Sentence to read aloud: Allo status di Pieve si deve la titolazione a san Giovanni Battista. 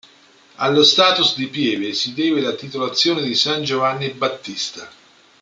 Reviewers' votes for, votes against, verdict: 0, 2, rejected